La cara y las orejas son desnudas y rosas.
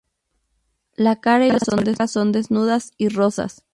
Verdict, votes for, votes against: rejected, 0, 2